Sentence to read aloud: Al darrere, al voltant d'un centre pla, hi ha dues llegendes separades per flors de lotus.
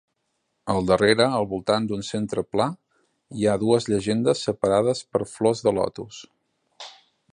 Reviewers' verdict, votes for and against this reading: accepted, 3, 0